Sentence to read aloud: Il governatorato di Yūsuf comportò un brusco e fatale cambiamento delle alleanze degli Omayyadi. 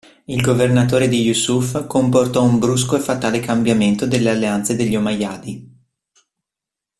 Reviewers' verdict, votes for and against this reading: rejected, 1, 2